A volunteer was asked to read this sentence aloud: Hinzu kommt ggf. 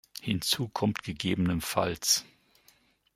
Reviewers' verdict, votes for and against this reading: accepted, 2, 0